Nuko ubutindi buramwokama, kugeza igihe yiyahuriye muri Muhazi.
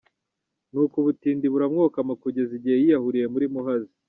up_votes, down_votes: 2, 0